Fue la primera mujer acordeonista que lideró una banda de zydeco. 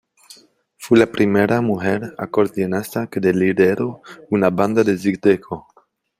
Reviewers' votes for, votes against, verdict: 1, 2, rejected